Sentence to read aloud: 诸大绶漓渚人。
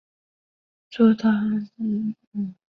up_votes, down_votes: 0, 3